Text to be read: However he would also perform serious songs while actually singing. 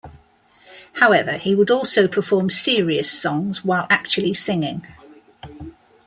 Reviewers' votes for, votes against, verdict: 2, 0, accepted